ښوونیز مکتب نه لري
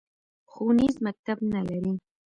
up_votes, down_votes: 1, 2